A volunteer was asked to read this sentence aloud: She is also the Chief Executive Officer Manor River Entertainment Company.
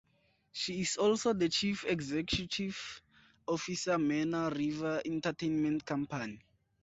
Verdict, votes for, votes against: rejected, 2, 2